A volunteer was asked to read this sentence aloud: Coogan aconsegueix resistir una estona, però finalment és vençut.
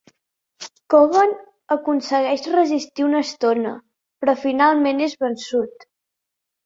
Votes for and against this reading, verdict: 3, 0, accepted